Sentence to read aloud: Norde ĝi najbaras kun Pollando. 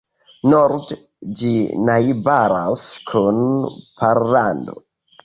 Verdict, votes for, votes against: accepted, 3, 0